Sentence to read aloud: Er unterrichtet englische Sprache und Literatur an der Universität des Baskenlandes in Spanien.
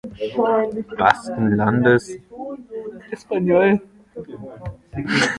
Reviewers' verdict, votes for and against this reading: rejected, 0, 2